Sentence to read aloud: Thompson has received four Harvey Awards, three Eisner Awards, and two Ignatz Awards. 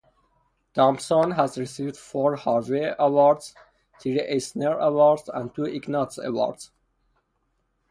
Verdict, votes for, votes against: rejected, 0, 2